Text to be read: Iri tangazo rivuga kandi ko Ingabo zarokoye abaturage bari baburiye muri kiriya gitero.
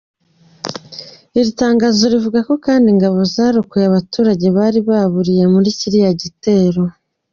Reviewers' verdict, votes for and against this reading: rejected, 0, 2